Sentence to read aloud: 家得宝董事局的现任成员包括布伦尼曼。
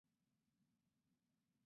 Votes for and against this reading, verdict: 0, 2, rejected